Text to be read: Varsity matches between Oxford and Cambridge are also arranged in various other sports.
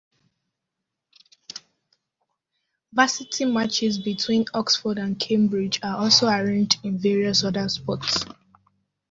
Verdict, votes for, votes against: accepted, 2, 1